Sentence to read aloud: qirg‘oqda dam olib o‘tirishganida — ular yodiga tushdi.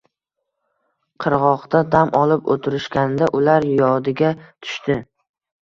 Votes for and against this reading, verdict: 1, 2, rejected